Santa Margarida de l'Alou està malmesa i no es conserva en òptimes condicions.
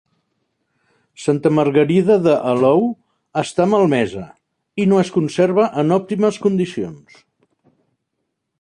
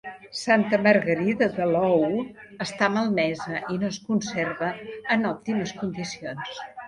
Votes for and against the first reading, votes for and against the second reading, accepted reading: 0, 2, 2, 1, second